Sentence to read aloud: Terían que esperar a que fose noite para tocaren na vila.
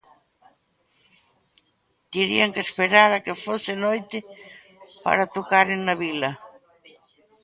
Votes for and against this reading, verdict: 2, 0, accepted